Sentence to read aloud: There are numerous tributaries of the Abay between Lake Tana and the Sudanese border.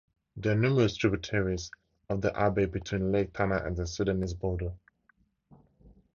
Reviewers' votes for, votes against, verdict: 2, 0, accepted